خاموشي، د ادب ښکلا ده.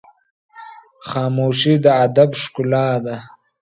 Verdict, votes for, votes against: accepted, 2, 0